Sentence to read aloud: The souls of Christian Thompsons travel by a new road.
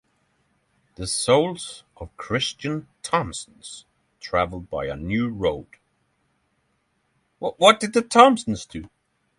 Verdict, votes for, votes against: rejected, 0, 6